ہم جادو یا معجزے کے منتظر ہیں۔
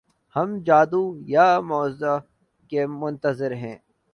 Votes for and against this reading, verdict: 1, 2, rejected